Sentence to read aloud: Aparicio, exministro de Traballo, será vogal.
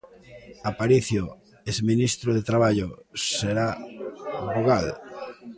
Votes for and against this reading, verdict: 0, 2, rejected